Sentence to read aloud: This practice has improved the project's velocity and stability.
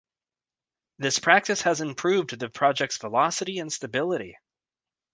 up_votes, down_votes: 2, 0